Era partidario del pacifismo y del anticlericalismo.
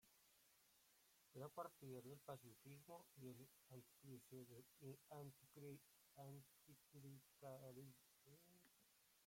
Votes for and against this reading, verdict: 1, 3, rejected